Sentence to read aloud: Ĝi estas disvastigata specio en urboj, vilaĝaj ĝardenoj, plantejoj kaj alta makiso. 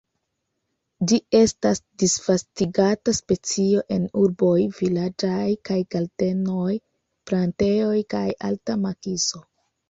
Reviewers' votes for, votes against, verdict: 0, 2, rejected